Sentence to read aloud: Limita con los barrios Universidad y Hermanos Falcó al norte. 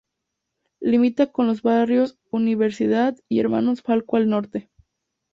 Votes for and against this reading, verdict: 2, 0, accepted